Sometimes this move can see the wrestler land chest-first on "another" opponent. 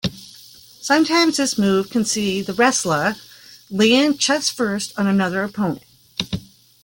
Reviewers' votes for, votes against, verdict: 2, 1, accepted